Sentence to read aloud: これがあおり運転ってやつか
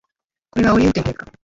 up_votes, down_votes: 1, 2